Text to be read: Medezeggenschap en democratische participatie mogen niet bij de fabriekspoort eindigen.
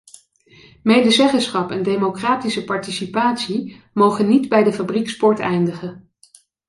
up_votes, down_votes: 2, 0